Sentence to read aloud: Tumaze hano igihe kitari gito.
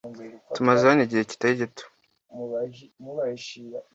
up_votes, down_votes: 2, 0